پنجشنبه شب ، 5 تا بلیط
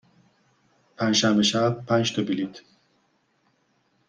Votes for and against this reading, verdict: 0, 2, rejected